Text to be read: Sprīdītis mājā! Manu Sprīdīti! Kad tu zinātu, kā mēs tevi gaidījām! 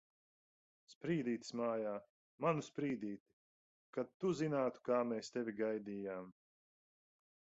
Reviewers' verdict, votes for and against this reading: rejected, 1, 2